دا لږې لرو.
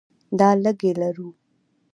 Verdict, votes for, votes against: accepted, 2, 1